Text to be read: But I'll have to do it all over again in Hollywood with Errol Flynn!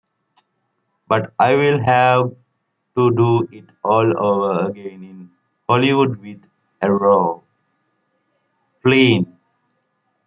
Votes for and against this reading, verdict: 1, 2, rejected